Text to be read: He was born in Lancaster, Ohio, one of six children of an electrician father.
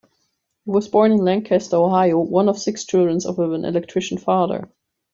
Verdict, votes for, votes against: rejected, 1, 2